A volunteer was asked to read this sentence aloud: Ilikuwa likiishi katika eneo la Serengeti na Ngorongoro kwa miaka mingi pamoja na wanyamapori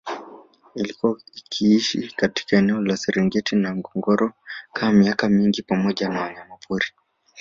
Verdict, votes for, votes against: rejected, 0, 2